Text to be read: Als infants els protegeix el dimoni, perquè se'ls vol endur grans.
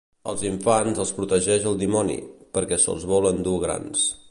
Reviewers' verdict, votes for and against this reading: accepted, 2, 0